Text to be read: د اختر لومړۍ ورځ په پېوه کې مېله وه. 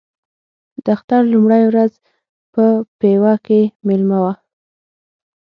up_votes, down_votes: 6, 3